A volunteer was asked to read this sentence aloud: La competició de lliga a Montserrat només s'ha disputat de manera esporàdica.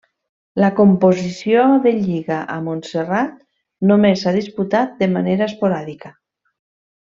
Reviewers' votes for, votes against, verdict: 0, 2, rejected